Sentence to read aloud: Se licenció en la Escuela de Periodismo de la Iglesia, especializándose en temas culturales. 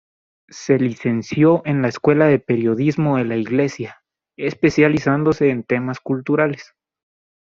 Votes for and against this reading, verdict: 0, 2, rejected